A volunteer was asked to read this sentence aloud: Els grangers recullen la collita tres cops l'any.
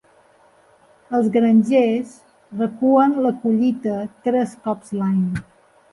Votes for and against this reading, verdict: 1, 3, rejected